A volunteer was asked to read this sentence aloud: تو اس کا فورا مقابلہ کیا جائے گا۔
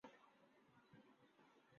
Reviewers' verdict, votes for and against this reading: rejected, 0, 2